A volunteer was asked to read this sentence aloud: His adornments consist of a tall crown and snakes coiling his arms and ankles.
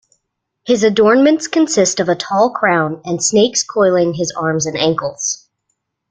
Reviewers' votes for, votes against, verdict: 2, 0, accepted